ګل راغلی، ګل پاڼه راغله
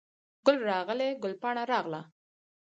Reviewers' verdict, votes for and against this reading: accepted, 4, 0